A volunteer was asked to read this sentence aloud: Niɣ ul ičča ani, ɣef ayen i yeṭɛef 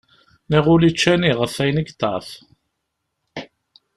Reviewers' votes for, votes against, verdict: 2, 0, accepted